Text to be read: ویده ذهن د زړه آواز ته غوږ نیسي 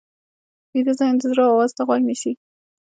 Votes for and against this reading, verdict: 1, 2, rejected